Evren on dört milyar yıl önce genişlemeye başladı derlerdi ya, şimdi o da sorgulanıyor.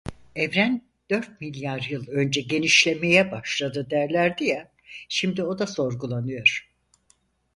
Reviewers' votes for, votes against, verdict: 2, 4, rejected